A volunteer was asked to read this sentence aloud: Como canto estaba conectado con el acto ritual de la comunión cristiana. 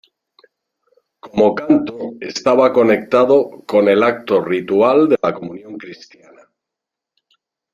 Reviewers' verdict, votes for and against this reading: rejected, 0, 2